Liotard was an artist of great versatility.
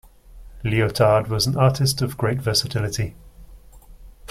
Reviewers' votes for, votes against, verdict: 2, 1, accepted